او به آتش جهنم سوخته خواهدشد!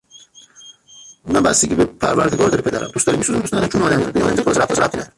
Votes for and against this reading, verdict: 0, 2, rejected